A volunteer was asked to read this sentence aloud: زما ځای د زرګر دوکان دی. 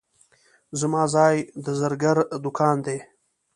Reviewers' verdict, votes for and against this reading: accepted, 2, 0